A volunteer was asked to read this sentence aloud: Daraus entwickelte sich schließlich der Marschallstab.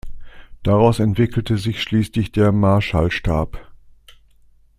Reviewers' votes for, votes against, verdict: 2, 0, accepted